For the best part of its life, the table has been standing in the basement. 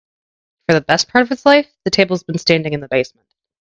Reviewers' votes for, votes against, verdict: 1, 2, rejected